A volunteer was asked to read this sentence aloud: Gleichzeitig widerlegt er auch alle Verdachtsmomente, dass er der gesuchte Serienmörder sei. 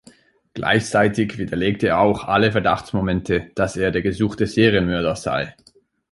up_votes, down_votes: 2, 0